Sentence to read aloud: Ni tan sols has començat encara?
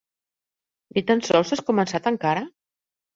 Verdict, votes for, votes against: accepted, 2, 0